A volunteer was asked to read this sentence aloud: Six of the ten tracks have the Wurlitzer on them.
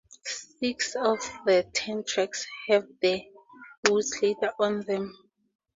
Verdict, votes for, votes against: rejected, 0, 2